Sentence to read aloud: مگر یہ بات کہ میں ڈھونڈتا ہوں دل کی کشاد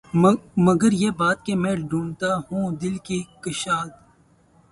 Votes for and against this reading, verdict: 0, 2, rejected